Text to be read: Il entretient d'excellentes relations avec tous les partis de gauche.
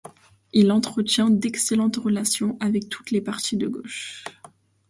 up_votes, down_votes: 1, 2